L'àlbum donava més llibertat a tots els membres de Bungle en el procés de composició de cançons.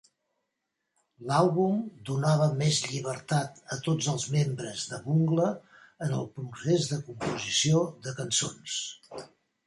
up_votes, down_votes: 1, 2